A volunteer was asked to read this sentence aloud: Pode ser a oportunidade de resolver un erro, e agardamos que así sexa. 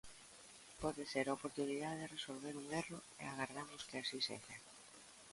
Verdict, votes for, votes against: rejected, 0, 2